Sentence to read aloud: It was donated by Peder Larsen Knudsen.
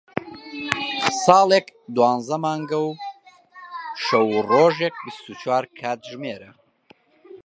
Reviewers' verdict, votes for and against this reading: rejected, 1, 2